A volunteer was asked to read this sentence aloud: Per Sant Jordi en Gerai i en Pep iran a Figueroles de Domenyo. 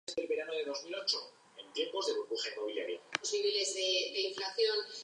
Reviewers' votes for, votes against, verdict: 0, 3, rejected